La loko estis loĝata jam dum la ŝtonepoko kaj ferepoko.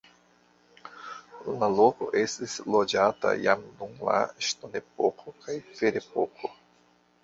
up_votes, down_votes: 1, 3